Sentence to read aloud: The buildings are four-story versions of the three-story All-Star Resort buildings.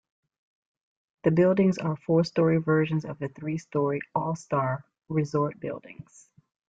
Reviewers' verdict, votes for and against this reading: accepted, 2, 0